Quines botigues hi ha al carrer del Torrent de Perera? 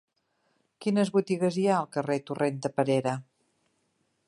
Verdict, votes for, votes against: rejected, 0, 3